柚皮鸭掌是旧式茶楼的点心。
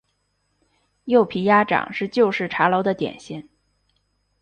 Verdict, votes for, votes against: accepted, 2, 0